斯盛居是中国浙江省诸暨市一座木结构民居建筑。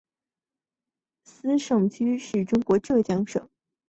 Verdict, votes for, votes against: rejected, 2, 4